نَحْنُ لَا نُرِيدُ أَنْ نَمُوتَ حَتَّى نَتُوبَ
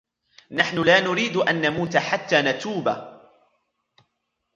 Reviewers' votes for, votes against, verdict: 2, 1, accepted